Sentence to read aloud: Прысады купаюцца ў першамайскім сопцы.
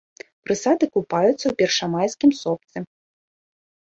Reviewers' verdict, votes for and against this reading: accepted, 2, 0